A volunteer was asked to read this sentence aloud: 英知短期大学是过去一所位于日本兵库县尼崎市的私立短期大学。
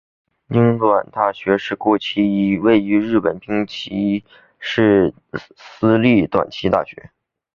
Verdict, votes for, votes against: rejected, 2, 3